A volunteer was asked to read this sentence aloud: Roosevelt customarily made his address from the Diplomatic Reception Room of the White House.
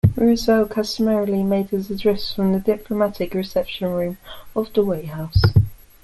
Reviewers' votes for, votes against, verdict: 2, 1, accepted